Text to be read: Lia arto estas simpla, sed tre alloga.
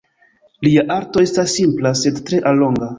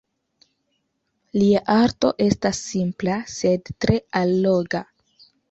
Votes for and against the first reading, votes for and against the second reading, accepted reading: 0, 2, 2, 0, second